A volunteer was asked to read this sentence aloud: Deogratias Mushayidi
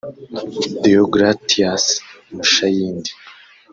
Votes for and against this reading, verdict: 2, 3, rejected